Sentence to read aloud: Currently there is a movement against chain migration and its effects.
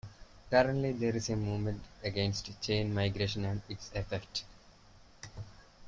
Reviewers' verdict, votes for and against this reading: rejected, 0, 2